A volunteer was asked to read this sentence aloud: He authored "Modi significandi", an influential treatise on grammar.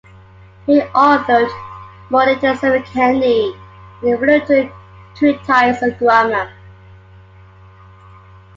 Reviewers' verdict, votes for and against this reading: rejected, 0, 2